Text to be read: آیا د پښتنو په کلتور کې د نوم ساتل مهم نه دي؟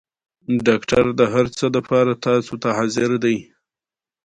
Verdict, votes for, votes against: accepted, 2, 1